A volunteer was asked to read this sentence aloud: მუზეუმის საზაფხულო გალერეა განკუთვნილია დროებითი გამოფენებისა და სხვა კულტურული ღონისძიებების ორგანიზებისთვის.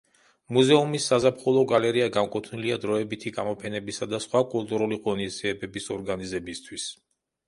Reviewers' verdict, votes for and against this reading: accepted, 2, 0